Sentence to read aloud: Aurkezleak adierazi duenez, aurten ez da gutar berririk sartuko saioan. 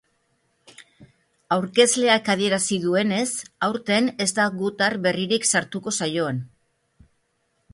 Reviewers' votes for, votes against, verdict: 2, 1, accepted